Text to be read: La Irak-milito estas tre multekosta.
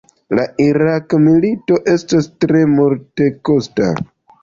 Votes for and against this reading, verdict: 2, 0, accepted